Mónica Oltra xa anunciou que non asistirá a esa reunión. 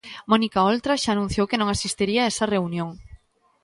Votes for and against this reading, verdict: 1, 2, rejected